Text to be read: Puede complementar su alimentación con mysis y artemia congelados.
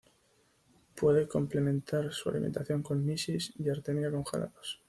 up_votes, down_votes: 2, 0